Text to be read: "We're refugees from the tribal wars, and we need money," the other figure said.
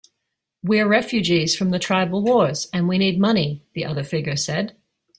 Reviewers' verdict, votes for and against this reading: accepted, 2, 0